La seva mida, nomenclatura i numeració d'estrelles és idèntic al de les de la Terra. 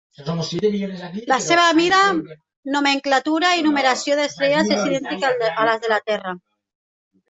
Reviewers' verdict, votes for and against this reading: rejected, 0, 2